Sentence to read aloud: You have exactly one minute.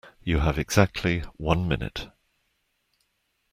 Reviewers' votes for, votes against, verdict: 2, 0, accepted